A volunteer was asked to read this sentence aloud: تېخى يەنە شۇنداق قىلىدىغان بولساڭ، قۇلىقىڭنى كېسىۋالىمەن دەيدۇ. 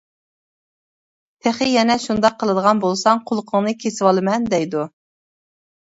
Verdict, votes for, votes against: accepted, 2, 0